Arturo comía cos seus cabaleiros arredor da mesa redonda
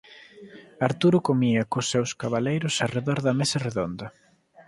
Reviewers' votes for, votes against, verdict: 3, 0, accepted